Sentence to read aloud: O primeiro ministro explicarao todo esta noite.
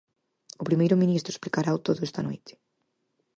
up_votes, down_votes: 4, 0